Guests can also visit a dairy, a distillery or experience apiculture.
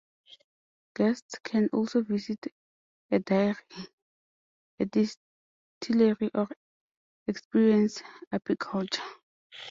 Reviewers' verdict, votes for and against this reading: rejected, 0, 2